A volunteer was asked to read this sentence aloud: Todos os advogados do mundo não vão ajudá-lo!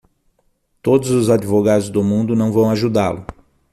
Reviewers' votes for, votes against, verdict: 6, 0, accepted